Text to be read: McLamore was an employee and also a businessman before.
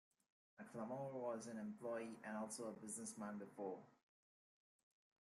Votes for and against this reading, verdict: 1, 2, rejected